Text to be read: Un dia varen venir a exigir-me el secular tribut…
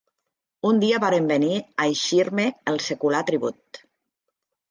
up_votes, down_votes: 0, 2